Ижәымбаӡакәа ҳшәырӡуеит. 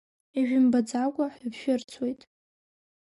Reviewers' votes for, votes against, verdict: 2, 4, rejected